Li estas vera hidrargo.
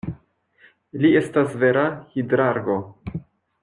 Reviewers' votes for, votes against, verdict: 2, 0, accepted